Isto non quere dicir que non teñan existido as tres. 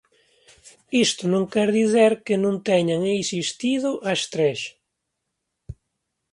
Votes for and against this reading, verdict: 2, 1, accepted